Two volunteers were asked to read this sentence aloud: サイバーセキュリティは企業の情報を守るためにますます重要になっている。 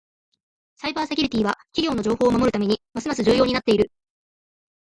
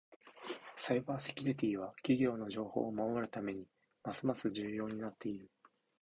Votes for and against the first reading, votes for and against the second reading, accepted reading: 1, 2, 3, 0, second